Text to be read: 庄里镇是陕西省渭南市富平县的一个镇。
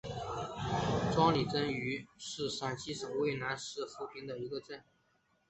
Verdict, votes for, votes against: accepted, 2, 0